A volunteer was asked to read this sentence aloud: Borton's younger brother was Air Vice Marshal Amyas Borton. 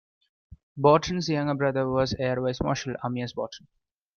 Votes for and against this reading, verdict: 2, 0, accepted